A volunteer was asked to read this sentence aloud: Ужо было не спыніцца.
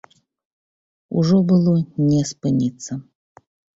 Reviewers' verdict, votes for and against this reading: accepted, 4, 0